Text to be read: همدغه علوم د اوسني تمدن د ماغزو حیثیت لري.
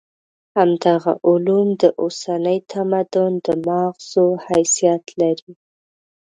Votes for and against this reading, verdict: 0, 2, rejected